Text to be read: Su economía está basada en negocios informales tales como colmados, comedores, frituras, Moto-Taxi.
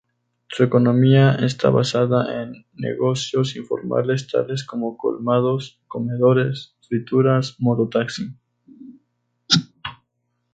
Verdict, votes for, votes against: accepted, 2, 0